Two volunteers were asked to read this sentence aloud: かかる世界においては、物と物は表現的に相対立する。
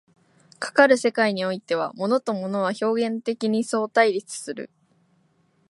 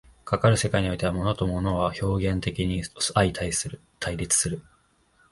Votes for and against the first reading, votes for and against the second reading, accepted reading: 2, 0, 0, 2, first